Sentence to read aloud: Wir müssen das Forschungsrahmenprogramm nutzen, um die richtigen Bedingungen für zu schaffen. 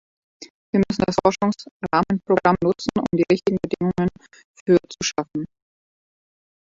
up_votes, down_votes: 0, 2